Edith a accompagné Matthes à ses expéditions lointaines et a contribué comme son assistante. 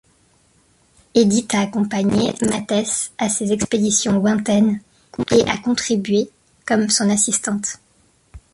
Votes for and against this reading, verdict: 2, 0, accepted